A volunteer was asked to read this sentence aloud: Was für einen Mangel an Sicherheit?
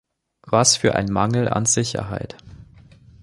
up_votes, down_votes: 1, 2